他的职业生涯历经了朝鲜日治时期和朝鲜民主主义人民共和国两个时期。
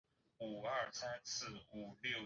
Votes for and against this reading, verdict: 1, 2, rejected